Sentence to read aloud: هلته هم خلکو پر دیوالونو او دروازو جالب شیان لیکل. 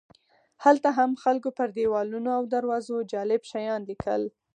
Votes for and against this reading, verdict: 2, 4, rejected